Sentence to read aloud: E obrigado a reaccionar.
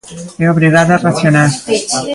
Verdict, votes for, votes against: rejected, 0, 2